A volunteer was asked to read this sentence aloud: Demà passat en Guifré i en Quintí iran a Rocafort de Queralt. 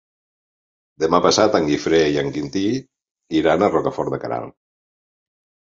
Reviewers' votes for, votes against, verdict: 3, 0, accepted